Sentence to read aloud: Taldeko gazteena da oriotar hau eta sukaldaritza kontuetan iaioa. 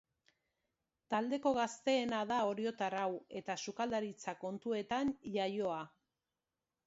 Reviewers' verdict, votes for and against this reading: accepted, 2, 0